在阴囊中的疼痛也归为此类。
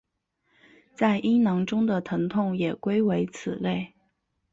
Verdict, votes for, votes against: accepted, 2, 0